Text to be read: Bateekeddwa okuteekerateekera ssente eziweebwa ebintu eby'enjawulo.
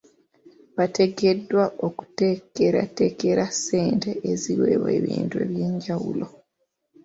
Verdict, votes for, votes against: accepted, 2, 0